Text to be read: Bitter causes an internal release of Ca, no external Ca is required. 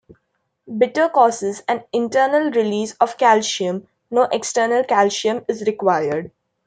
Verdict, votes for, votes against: rejected, 1, 2